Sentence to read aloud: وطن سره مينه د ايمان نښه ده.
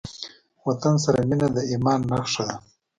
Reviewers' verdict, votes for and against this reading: accepted, 2, 0